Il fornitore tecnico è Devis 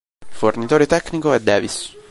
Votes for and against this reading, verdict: 0, 2, rejected